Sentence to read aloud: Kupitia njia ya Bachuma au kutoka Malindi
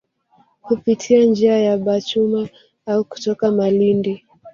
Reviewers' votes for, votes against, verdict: 3, 0, accepted